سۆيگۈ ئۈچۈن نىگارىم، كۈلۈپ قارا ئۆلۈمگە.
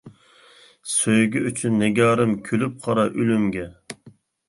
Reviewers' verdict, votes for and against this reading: accepted, 2, 0